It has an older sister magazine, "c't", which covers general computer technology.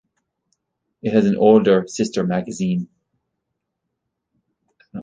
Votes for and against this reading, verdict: 1, 2, rejected